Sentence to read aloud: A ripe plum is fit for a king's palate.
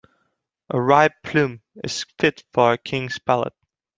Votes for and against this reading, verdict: 2, 0, accepted